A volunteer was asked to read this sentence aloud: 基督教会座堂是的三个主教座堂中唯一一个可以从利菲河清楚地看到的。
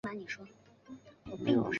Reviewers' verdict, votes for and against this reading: rejected, 0, 3